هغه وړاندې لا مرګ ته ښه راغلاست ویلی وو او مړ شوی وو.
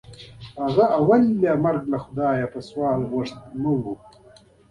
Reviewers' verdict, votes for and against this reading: rejected, 1, 2